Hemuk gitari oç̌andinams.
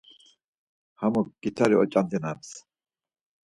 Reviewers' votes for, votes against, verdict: 2, 4, rejected